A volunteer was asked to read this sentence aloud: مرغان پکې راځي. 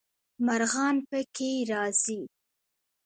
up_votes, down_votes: 1, 2